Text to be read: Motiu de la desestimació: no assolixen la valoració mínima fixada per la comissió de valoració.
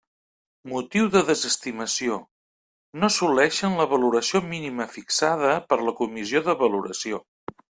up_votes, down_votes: 1, 2